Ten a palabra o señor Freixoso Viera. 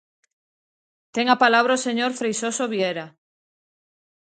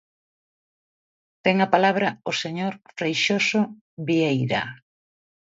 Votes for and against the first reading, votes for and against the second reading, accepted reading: 2, 0, 0, 3, first